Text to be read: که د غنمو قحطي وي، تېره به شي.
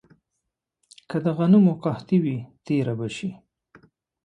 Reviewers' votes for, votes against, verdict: 2, 0, accepted